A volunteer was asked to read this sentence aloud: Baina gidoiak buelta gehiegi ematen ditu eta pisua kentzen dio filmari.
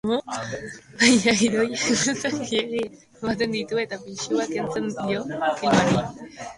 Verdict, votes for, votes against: rejected, 0, 2